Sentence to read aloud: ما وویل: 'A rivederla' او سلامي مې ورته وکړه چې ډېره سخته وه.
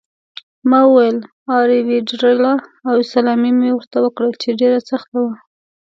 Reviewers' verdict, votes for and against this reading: accepted, 2, 0